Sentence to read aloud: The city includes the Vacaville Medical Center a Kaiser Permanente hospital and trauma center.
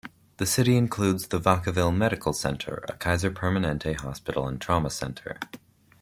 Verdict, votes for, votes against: accepted, 2, 0